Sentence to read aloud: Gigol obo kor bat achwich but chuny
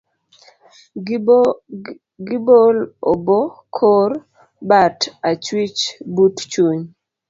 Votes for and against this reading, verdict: 0, 2, rejected